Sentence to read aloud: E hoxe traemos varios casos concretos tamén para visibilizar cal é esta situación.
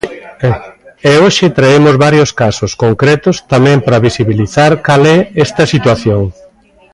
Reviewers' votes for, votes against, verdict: 2, 0, accepted